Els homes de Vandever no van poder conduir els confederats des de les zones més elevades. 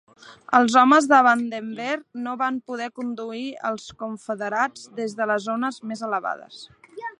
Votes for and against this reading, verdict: 1, 3, rejected